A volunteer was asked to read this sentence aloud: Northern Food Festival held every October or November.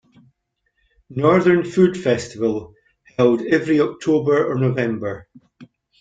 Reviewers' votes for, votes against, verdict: 2, 0, accepted